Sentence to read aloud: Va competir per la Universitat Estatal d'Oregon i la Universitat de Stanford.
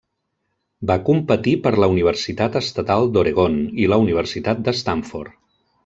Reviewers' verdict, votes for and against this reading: accepted, 3, 0